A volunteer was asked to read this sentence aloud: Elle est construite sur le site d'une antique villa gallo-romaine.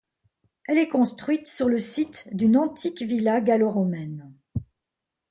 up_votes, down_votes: 2, 0